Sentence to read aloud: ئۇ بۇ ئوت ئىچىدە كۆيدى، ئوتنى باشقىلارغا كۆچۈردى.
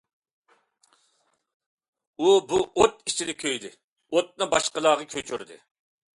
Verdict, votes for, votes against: accepted, 2, 0